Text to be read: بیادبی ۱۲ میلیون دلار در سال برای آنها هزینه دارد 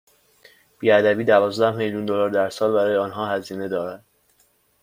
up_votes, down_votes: 0, 2